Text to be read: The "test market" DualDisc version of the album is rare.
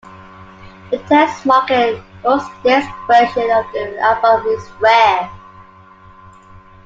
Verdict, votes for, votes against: rejected, 0, 2